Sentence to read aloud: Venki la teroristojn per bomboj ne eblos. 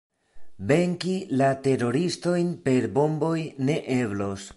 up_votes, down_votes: 2, 0